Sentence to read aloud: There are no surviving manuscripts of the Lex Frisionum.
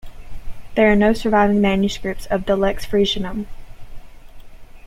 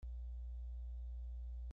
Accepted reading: first